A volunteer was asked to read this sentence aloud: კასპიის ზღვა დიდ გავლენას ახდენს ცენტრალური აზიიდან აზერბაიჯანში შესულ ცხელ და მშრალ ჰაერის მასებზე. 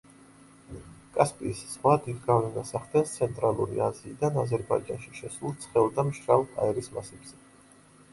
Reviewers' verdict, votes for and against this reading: rejected, 1, 2